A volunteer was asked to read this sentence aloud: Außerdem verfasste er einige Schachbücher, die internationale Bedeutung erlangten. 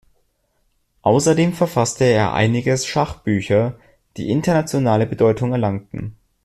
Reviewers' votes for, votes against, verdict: 0, 2, rejected